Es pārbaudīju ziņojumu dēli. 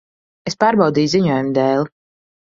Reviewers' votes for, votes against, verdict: 3, 0, accepted